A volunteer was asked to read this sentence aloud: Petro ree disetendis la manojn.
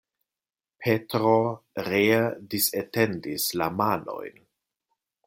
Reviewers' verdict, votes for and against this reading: rejected, 1, 2